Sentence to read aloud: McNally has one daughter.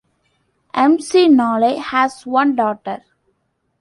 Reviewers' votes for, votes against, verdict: 1, 2, rejected